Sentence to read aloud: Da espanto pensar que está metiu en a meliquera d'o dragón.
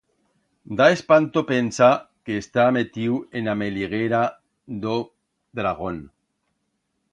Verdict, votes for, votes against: rejected, 1, 2